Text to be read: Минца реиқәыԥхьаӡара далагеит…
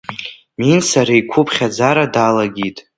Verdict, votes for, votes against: rejected, 1, 2